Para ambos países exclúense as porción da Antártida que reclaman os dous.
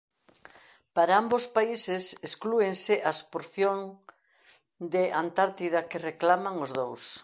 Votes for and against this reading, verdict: 0, 2, rejected